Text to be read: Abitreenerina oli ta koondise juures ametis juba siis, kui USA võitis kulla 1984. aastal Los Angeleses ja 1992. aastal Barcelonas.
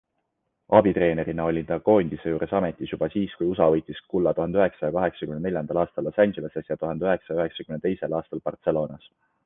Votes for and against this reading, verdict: 0, 2, rejected